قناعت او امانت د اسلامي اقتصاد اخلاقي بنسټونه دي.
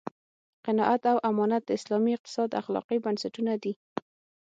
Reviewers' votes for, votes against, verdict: 6, 0, accepted